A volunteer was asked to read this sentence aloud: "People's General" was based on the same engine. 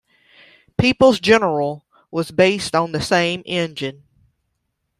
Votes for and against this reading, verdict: 2, 0, accepted